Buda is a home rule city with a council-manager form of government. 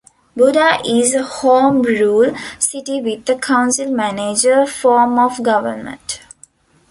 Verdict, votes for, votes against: accepted, 2, 0